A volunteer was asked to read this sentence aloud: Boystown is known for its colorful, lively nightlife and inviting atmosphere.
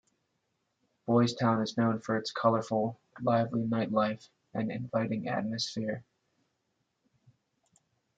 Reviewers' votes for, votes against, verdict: 2, 0, accepted